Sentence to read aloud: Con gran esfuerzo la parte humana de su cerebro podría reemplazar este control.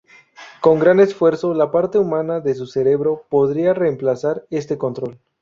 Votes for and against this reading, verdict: 2, 2, rejected